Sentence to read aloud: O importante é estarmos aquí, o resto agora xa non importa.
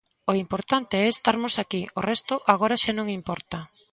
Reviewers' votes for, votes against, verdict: 2, 0, accepted